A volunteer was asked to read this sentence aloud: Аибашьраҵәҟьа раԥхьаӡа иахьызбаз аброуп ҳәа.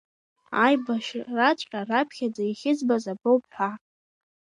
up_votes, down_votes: 1, 2